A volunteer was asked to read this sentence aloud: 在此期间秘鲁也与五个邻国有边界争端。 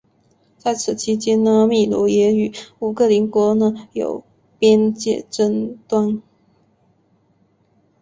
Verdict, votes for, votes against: rejected, 1, 2